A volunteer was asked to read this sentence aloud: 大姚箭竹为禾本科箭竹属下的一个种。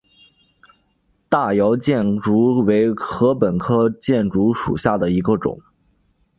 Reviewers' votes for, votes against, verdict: 5, 0, accepted